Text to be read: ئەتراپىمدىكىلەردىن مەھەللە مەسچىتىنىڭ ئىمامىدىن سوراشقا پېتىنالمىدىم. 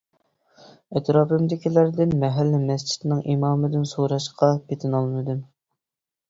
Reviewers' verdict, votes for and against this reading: accepted, 2, 0